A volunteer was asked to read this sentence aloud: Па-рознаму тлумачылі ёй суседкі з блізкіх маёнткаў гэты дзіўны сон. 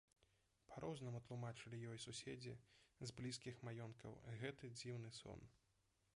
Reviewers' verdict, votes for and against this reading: rejected, 0, 2